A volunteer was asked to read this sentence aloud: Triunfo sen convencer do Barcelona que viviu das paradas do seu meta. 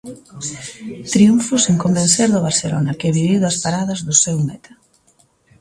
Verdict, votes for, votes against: rejected, 1, 2